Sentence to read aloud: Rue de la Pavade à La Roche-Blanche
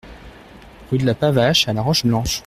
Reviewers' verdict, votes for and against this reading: rejected, 0, 2